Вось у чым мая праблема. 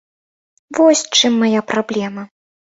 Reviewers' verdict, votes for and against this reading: rejected, 0, 2